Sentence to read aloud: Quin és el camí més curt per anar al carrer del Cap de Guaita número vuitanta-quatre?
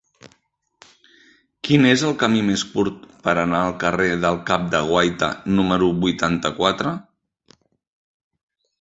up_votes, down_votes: 3, 0